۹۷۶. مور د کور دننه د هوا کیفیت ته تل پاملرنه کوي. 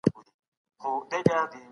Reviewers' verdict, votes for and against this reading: rejected, 0, 2